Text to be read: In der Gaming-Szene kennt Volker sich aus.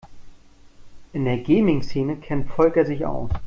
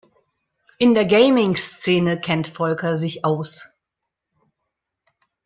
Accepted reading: second